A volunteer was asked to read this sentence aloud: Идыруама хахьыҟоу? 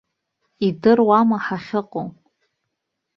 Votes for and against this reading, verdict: 2, 0, accepted